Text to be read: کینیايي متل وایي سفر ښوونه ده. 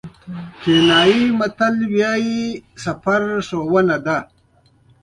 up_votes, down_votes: 2, 0